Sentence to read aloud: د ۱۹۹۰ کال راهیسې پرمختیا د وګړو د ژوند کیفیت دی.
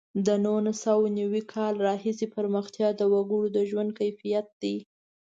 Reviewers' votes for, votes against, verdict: 0, 2, rejected